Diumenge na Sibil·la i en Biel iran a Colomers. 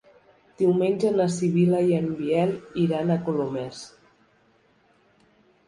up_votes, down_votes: 3, 0